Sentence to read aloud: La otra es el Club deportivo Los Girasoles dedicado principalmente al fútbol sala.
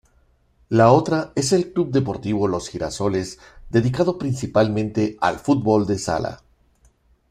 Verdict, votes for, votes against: rejected, 0, 2